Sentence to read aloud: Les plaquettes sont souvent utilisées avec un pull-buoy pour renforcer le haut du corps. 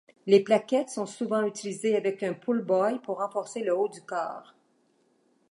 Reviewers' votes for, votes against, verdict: 2, 0, accepted